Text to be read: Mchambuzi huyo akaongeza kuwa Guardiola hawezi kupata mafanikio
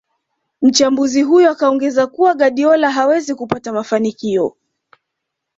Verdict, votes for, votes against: accepted, 2, 0